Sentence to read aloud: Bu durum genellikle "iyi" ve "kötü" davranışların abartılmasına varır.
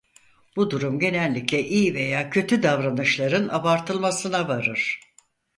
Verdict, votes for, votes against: rejected, 0, 4